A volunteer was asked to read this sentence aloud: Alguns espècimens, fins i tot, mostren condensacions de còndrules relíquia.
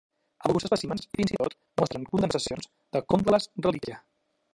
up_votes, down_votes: 0, 2